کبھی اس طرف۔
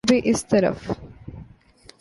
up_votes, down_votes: 2, 0